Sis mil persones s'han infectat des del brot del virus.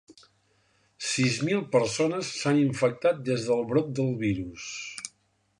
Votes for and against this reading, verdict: 2, 0, accepted